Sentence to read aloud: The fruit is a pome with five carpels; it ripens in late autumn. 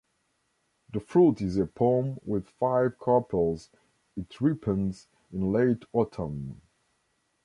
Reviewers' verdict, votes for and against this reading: rejected, 0, 2